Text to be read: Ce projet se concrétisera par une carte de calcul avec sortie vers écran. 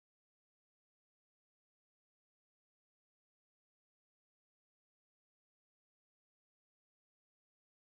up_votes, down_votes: 0, 2